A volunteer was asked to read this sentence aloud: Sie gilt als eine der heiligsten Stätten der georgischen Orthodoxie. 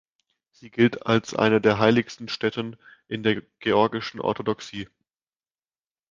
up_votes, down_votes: 0, 2